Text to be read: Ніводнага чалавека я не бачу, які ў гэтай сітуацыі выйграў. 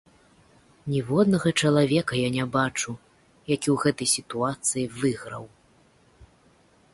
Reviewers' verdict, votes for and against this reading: accepted, 2, 0